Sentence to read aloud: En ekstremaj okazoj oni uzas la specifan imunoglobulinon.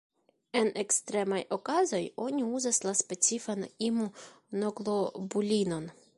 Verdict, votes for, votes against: accepted, 2, 0